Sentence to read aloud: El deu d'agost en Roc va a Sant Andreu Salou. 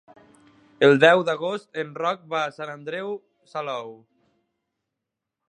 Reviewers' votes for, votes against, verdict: 3, 0, accepted